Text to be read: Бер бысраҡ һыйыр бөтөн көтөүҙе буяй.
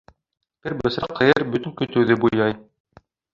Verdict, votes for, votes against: rejected, 1, 2